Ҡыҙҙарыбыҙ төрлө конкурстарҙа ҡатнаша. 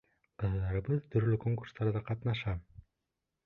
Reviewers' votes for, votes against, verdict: 2, 3, rejected